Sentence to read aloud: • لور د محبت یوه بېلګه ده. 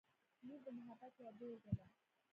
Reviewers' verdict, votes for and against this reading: rejected, 0, 2